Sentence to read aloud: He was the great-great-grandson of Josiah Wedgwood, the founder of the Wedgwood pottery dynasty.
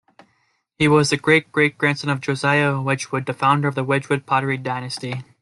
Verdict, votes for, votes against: accepted, 2, 0